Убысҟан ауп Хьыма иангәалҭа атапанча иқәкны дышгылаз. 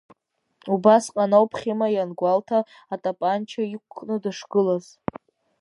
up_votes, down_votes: 2, 0